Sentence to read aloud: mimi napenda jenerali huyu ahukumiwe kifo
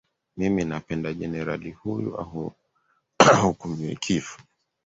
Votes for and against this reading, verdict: 3, 2, accepted